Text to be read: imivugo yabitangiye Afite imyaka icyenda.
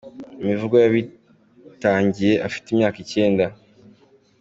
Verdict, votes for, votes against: accepted, 2, 0